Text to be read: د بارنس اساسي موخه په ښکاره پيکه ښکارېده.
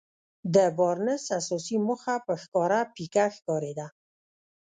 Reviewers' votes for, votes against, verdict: 1, 2, rejected